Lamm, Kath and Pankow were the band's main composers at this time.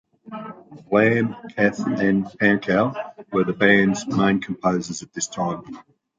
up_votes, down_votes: 2, 0